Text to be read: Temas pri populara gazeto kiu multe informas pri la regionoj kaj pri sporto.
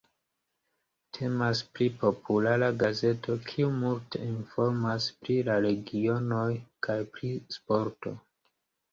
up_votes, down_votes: 2, 0